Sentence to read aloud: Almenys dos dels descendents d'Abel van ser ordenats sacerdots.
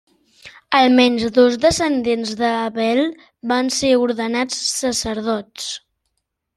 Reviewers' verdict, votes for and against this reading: rejected, 0, 2